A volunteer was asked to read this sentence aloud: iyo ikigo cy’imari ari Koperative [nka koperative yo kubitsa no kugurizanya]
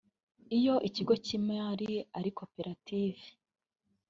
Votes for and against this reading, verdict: 0, 3, rejected